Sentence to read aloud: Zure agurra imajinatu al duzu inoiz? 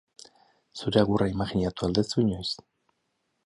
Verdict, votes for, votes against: rejected, 2, 4